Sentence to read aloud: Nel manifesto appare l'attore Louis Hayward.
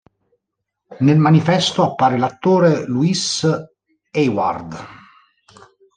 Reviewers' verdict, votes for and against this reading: accepted, 2, 0